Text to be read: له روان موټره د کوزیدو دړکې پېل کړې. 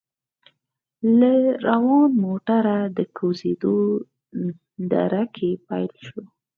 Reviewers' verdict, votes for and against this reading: rejected, 2, 4